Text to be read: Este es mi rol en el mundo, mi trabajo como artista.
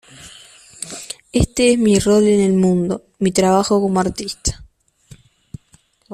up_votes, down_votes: 2, 0